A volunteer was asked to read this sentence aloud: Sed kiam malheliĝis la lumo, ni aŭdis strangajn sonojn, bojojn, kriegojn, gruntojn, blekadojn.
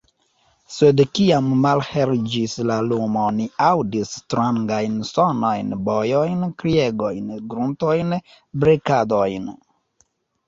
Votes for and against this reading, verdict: 1, 2, rejected